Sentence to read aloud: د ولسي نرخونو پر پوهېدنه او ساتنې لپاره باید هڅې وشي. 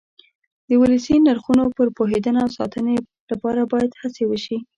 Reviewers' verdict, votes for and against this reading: accepted, 2, 0